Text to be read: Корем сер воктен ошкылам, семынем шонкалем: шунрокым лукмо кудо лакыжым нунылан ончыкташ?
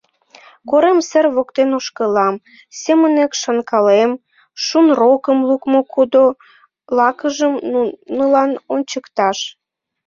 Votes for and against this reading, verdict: 0, 2, rejected